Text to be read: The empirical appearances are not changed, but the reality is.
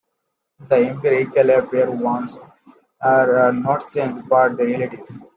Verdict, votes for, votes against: rejected, 1, 2